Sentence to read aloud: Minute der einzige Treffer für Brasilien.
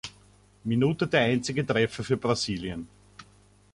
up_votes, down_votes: 1, 2